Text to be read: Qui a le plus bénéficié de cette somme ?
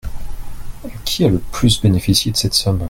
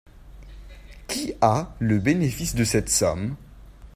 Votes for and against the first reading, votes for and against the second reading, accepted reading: 2, 0, 0, 2, first